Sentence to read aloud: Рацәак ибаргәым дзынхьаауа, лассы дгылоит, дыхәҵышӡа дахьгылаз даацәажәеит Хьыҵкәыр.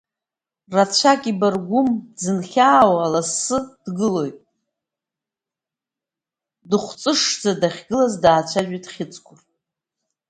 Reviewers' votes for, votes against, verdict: 2, 1, accepted